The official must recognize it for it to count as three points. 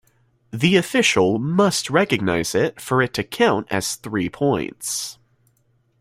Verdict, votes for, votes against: accepted, 2, 0